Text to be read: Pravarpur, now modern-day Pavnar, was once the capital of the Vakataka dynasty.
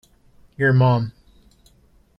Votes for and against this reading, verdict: 0, 2, rejected